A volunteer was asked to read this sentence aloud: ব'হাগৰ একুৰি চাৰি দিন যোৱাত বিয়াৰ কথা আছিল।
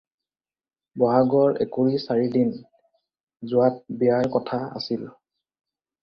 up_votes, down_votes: 4, 2